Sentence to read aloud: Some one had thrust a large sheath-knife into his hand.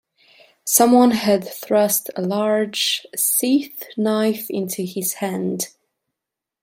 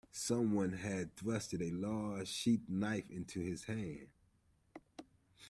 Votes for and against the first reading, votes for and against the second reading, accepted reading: 0, 2, 2, 1, second